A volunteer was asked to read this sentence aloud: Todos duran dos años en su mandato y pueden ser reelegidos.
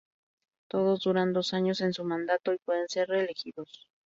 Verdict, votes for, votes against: rejected, 0, 2